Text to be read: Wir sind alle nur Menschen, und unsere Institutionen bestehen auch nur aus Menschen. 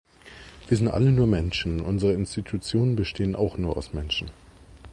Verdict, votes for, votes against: rejected, 0, 2